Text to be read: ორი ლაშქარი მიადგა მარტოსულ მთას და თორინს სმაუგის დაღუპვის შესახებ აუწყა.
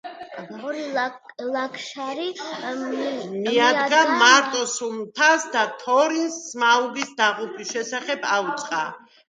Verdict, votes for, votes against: rejected, 0, 2